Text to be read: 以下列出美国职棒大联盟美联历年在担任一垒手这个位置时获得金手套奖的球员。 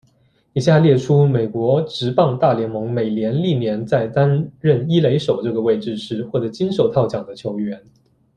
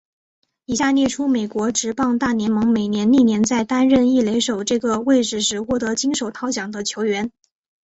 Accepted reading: second